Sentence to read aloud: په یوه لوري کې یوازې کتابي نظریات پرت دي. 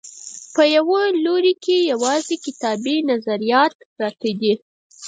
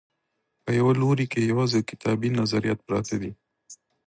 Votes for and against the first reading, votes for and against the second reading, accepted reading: 2, 4, 2, 0, second